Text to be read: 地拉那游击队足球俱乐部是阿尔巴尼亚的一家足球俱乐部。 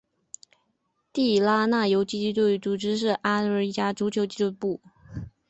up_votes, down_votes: 1, 3